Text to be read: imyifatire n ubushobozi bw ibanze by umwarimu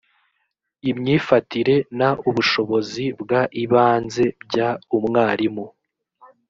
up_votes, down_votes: 0, 2